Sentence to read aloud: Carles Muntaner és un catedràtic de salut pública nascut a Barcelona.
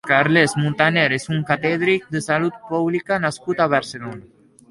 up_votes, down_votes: 0, 2